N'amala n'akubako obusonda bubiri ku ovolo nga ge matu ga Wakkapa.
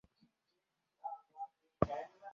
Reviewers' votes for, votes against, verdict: 0, 2, rejected